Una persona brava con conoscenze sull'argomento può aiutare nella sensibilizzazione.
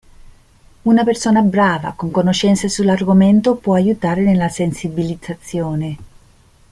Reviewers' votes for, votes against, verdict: 2, 0, accepted